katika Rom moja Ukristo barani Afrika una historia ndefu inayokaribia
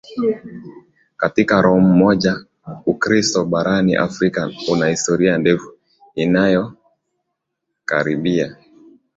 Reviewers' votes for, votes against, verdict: 2, 1, accepted